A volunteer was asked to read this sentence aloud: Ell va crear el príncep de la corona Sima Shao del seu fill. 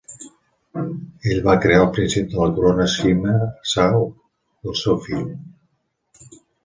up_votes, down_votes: 1, 2